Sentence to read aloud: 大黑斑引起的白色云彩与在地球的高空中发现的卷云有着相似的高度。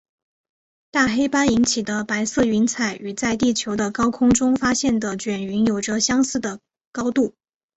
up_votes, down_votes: 3, 2